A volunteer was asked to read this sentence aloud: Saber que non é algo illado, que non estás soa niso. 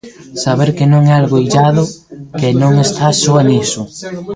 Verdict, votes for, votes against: rejected, 1, 2